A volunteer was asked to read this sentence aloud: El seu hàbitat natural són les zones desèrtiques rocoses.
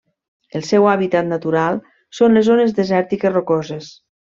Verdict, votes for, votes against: accepted, 3, 0